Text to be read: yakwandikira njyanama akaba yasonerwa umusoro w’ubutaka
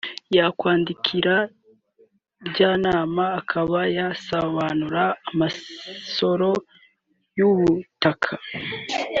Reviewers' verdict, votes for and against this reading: rejected, 0, 2